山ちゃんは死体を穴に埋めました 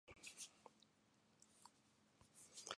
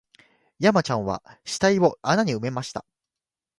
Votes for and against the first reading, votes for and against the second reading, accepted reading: 2, 3, 2, 0, second